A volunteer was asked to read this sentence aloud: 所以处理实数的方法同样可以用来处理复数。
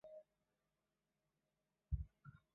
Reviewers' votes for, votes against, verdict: 0, 2, rejected